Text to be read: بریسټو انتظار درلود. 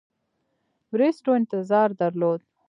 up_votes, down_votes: 2, 0